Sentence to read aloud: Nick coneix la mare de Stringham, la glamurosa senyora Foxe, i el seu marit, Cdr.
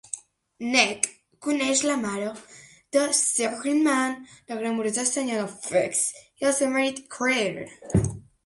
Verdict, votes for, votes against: accepted, 2, 0